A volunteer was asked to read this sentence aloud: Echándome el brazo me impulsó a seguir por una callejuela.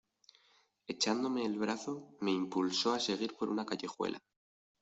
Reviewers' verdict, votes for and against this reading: accepted, 2, 0